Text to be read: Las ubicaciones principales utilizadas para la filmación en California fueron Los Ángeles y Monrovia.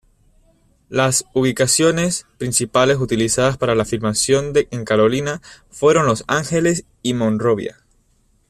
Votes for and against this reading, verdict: 0, 2, rejected